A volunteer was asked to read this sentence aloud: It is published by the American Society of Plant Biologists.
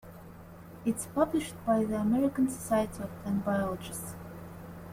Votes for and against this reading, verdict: 1, 3, rejected